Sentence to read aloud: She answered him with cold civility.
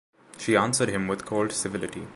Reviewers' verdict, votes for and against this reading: accepted, 2, 0